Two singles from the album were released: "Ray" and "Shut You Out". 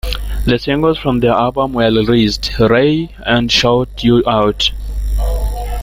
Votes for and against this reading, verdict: 0, 3, rejected